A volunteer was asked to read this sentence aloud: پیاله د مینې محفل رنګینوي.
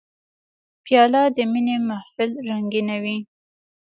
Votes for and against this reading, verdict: 1, 2, rejected